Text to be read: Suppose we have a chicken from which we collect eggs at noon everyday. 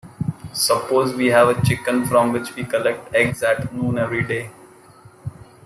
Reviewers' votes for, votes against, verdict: 2, 0, accepted